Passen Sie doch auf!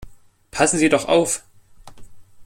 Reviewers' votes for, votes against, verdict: 2, 0, accepted